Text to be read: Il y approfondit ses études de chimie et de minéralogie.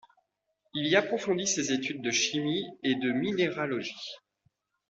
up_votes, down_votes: 2, 0